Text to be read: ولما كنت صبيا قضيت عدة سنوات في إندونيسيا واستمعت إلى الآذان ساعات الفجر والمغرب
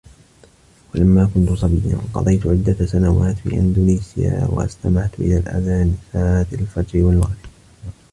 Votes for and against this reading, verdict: 0, 2, rejected